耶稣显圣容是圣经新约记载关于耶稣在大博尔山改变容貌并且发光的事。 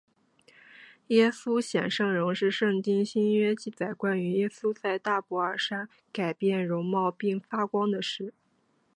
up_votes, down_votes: 2, 0